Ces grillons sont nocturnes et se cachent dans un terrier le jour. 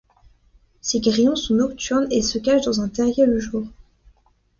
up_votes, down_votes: 2, 0